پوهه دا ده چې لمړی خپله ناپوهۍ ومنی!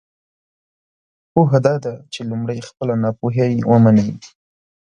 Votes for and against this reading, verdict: 2, 0, accepted